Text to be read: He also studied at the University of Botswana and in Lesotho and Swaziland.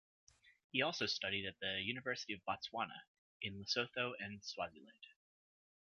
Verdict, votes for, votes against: rejected, 1, 2